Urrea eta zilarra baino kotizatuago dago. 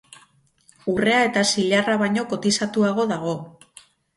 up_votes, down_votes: 4, 0